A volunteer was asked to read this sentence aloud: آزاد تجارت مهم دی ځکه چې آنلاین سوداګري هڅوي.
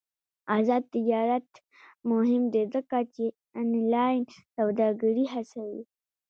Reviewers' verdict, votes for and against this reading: accepted, 2, 0